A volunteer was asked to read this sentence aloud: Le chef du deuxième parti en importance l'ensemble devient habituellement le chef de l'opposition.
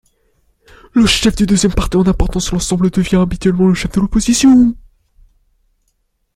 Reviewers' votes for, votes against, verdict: 0, 2, rejected